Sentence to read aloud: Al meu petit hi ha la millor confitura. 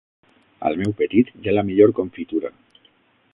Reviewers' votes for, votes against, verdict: 0, 6, rejected